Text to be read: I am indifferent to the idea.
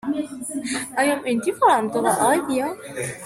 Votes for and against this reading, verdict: 0, 2, rejected